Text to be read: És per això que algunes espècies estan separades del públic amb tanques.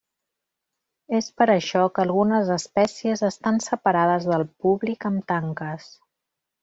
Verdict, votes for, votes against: rejected, 1, 2